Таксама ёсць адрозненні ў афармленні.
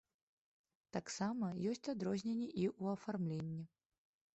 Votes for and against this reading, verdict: 0, 2, rejected